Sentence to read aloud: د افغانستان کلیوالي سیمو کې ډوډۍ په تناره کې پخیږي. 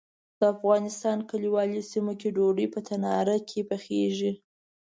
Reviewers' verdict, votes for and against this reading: accepted, 2, 0